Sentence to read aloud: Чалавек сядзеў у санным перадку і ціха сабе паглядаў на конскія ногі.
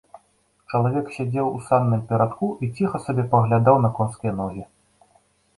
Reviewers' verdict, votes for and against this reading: accepted, 2, 0